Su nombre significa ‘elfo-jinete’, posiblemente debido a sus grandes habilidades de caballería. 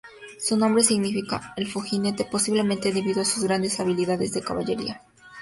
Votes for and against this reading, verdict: 4, 0, accepted